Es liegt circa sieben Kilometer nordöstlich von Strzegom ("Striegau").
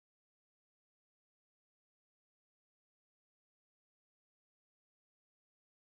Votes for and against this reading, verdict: 0, 6, rejected